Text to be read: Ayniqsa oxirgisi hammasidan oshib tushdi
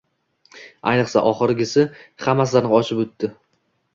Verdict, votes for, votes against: accepted, 2, 0